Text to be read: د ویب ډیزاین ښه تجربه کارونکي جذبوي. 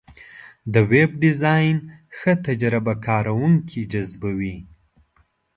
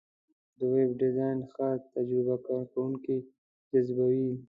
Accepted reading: first